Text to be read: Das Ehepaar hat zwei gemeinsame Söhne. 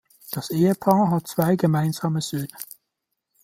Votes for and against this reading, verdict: 1, 2, rejected